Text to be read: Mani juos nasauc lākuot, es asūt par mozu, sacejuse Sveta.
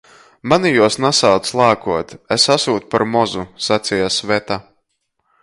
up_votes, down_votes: 0, 2